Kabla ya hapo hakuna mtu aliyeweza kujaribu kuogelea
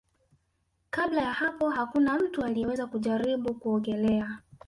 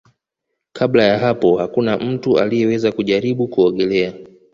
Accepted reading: second